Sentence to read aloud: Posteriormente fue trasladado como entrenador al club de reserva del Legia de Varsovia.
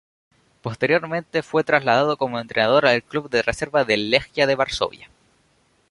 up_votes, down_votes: 0, 2